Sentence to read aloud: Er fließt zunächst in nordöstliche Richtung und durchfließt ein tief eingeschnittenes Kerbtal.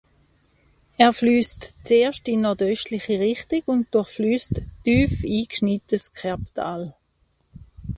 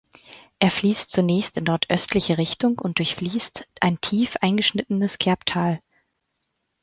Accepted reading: second